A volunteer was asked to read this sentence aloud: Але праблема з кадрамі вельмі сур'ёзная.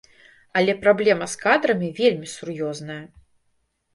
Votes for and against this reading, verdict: 2, 0, accepted